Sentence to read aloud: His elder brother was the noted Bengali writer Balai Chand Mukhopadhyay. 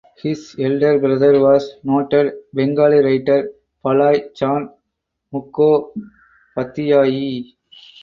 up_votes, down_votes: 0, 4